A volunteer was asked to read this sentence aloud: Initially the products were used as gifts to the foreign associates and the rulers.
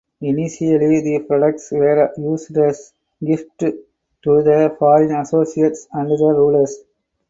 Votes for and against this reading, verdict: 0, 4, rejected